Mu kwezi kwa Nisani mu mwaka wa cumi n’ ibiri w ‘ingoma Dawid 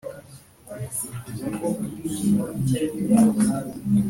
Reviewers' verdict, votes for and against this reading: rejected, 1, 2